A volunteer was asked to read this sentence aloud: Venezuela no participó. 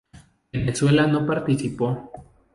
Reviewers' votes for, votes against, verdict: 0, 2, rejected